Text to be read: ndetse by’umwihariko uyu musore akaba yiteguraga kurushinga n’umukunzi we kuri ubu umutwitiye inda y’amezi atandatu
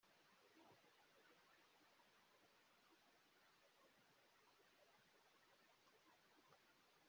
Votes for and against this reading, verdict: 1, 2, rejected